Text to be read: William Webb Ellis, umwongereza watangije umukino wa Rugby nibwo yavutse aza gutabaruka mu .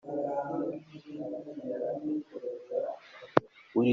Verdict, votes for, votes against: rejected, 0, 2